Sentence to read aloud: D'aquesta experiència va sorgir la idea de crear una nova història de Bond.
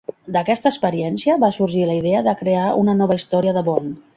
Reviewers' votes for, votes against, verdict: 2, 0, accepted